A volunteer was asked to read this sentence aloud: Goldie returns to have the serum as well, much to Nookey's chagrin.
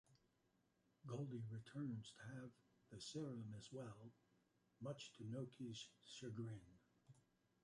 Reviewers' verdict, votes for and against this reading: rejected, 1, 2